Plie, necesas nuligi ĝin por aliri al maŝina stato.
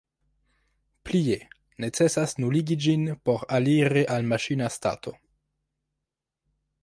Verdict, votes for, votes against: accepted, 2, 0